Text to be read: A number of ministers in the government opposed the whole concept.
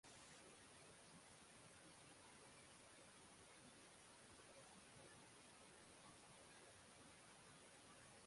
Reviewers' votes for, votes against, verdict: 0, 3, rejected